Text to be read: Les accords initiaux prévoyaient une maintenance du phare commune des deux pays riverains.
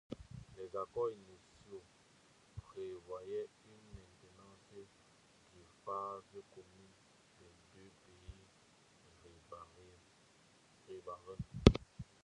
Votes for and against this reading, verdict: 0, 2, rejected